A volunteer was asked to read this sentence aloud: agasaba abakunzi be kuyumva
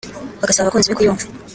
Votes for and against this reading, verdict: 1, 2, rejected